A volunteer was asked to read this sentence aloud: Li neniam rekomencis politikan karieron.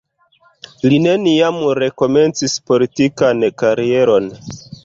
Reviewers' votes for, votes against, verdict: 1, 2, rejected